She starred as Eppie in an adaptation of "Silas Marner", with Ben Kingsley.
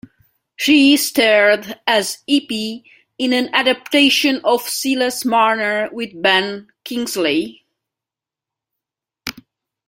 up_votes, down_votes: 2, 1